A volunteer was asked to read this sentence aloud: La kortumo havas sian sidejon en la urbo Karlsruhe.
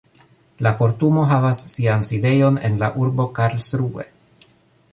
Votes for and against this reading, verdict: 0, 2, rejected